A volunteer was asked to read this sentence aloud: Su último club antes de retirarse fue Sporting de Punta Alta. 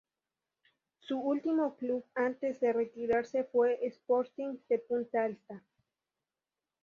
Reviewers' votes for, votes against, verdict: 0, 2, rejected